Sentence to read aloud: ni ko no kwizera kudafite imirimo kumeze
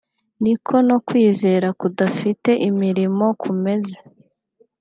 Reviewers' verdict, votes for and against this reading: accepted, 2, 0